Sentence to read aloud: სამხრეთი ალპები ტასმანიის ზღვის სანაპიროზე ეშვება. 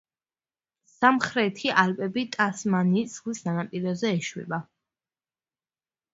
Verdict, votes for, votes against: accepted, 2, 1